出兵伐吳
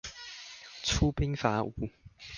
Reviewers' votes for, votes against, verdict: 2, 0, accepted